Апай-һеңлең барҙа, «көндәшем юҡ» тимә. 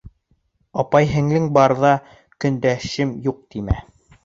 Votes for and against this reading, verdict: 2, 0, accepted